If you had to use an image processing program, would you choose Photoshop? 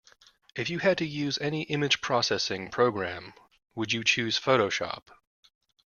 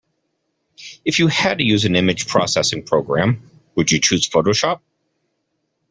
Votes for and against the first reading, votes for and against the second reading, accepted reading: 0, 2, 2, 0, second